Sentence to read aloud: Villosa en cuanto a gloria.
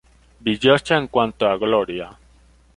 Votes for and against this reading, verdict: 2, 0, accepted